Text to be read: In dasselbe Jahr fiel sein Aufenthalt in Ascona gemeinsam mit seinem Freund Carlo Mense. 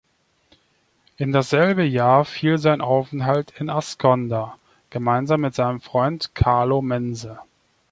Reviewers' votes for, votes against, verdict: 1, 2, rejected